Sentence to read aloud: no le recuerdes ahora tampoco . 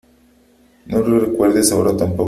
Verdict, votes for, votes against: rejected, 1, 2